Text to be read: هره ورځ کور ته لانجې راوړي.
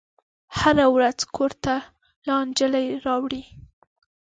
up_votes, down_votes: 0, 2